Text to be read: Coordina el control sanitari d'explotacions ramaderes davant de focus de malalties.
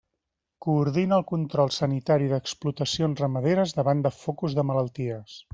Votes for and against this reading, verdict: 2, 0, accepted